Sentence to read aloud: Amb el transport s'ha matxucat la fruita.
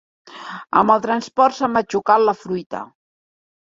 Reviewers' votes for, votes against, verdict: 3, 0, accepted